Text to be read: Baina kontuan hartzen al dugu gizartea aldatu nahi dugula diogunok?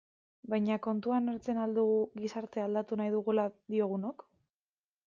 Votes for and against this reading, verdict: 2, 1, accepted